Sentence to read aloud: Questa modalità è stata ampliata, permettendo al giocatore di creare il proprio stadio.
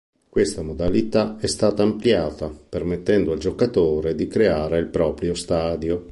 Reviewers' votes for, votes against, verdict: 2, 0, accepted